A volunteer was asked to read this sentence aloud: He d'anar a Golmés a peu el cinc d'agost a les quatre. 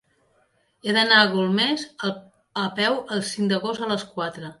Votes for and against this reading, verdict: 3, 0, accepted